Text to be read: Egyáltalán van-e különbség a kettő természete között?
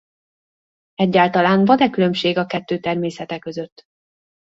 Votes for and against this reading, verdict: 2, 0, accepted